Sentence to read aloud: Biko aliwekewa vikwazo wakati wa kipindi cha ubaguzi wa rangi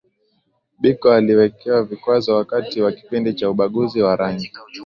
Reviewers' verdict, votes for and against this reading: accepted, 2, 1